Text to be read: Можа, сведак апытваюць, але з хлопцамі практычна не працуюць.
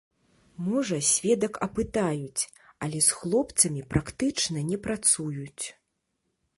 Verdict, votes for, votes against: rejected, 0, 2